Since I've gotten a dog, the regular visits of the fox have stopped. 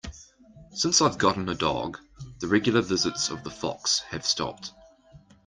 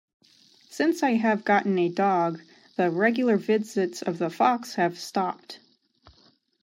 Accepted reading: first